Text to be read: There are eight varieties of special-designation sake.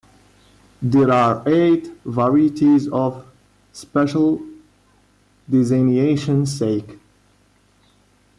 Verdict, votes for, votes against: rejected, 1, 2